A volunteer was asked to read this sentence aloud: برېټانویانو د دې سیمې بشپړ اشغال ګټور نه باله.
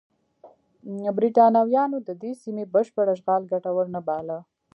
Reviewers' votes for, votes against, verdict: 2, 0, accepted